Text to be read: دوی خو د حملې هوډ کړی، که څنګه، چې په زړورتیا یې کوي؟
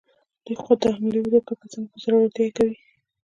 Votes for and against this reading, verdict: 2, 0, accepted